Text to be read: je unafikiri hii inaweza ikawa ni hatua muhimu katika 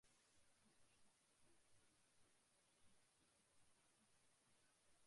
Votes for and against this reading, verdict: 0, 2, rejected